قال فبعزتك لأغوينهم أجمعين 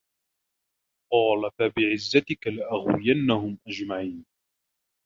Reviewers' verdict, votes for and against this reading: rejected, 0, 2